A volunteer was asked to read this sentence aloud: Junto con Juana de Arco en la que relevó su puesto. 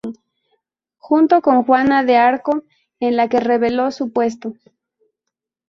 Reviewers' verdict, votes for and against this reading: rejected, 0, 2